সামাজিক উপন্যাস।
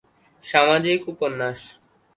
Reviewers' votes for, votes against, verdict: 2, 0, accepted